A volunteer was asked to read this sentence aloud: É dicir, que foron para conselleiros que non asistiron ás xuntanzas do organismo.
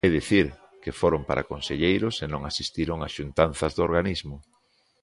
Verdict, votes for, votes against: rejected, 0, 2